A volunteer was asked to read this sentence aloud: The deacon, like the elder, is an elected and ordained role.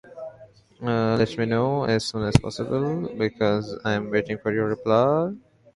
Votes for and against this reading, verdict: 0, 2, rejected